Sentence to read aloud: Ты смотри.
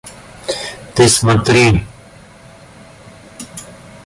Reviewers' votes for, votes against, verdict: 2, 0, accepted